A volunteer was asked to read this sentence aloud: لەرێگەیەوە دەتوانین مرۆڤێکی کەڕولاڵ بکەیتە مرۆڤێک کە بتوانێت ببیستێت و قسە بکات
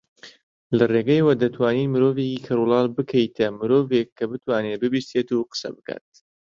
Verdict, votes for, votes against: accepted, 2, 1